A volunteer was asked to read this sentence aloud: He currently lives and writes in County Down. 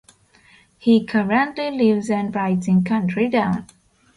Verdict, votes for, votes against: rejected, 0, 2